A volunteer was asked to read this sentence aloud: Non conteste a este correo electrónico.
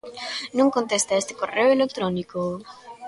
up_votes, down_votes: 1, 2